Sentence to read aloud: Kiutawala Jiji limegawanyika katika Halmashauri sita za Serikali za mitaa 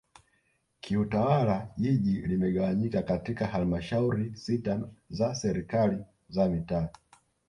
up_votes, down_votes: 1, 2